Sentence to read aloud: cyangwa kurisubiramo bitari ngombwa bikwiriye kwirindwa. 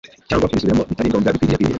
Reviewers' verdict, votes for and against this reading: rejected, 1, 2